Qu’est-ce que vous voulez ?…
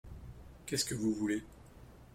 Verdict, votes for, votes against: accepted, 2, 0